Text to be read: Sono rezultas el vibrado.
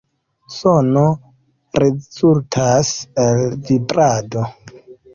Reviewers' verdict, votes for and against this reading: accepted, 2, 1